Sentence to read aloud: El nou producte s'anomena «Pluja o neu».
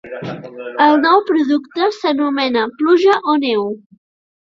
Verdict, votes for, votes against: accepted, 2, 1